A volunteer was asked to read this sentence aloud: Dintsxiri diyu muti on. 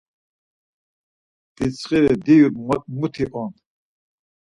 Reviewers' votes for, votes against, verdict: 4, 0, accepted